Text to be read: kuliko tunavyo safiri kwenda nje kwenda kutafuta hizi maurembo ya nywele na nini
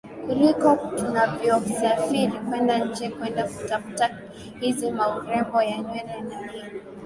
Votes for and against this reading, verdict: 2, 0, accepted